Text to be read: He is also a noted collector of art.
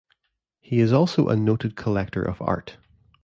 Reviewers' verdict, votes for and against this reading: accepted, 2, 0